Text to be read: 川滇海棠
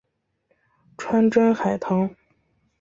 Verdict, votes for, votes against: accepted, 3, 0